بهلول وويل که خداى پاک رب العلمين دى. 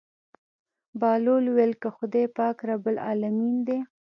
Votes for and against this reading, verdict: 2, 0, accepted